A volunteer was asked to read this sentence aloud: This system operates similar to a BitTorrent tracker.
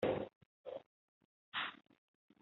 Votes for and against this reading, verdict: 0, 2, rejected